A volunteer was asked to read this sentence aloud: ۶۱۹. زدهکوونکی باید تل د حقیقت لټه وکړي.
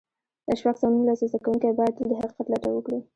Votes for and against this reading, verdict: 0, 2, rejected